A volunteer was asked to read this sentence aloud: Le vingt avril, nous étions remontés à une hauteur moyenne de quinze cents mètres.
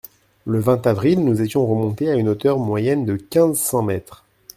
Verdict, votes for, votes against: accepted, 2, 0